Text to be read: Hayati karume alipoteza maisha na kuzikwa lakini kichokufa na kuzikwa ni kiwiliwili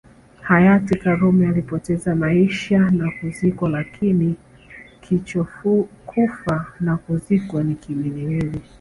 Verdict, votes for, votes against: rejected, 1, 3